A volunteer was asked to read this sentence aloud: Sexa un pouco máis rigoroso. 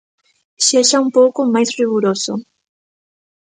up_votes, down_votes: 1, 2